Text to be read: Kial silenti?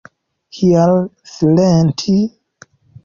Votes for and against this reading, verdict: 2, 0, accepted